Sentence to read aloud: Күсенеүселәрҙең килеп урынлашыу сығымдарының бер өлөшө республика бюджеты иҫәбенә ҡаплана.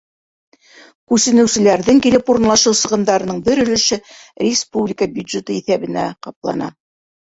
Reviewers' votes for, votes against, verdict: 1, 2, rejected